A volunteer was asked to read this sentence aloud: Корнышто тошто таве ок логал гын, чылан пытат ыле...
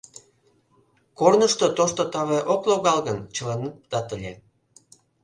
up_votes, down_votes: 0, 2